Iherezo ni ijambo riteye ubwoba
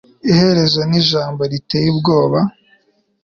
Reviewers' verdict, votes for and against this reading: accepted, 3, 0